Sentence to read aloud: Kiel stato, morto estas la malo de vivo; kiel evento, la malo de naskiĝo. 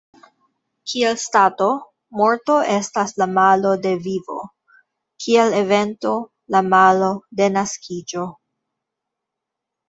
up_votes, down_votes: 2, 0